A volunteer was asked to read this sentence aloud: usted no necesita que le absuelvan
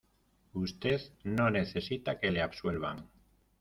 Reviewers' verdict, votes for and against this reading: accepted, 2, 0